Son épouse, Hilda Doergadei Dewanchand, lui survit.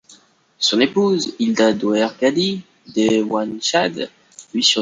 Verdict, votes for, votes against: rejected, 0, 3